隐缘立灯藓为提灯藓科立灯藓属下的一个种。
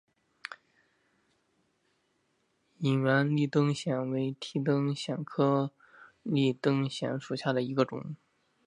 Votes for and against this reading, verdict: 2, 0, accepted